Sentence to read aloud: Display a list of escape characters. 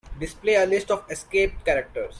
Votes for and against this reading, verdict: 2, 0, accepted